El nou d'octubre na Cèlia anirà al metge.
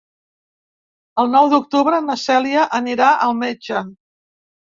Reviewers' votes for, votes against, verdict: 3, 0, accepted